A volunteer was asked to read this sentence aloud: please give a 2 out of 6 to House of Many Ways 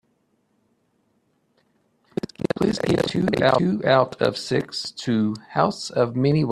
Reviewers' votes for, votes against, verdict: 0, 2, rejected